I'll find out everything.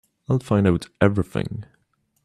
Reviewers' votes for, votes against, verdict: 2, 0, accepted